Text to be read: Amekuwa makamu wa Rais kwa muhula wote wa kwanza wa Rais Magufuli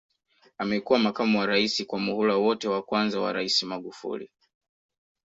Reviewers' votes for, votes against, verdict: 0, 2, rejected